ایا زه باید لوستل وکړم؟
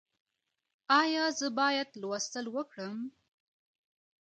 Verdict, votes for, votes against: accepted, 2, 0